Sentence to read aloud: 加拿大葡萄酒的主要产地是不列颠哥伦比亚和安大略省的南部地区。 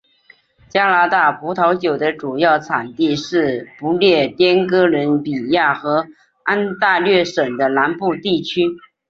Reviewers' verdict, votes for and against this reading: accepted, 2, 0